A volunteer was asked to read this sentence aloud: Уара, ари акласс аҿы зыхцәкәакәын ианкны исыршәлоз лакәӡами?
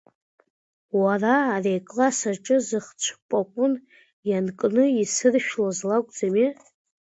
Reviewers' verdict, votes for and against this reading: rejected, 1, 2